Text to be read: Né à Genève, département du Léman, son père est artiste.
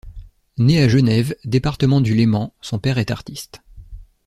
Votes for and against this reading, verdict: 2, 0, accepted